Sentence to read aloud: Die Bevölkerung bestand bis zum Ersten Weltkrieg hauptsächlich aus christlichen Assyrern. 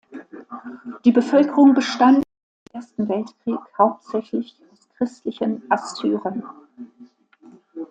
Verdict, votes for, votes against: rejected, 0, 2